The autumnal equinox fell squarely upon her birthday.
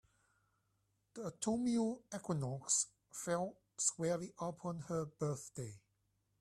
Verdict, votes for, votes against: rejected, 0, 3